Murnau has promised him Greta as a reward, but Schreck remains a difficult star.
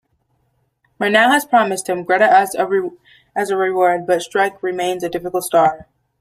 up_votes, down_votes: 2, 1